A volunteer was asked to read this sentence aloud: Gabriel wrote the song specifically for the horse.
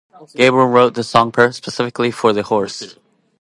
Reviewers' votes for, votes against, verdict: 2, 0, accepted